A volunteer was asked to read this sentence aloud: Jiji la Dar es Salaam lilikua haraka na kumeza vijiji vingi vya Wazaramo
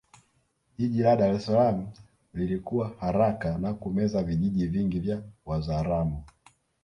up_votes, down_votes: 2, 3